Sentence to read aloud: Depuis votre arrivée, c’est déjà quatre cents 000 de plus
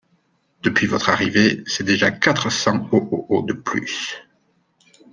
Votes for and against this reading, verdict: 0, 2, rejected